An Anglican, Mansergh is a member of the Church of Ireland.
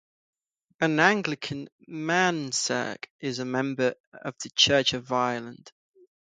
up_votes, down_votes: 3, 3